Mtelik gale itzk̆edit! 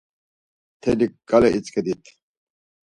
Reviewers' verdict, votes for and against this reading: accepted, 4, 0